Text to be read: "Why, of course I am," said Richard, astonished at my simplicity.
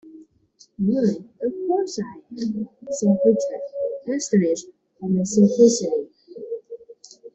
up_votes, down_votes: 1, 2